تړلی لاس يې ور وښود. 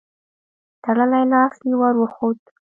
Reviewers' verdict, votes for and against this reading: accepted, 2, 0